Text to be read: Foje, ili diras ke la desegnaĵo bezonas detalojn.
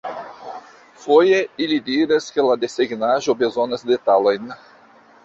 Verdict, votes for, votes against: accepted, 2, 1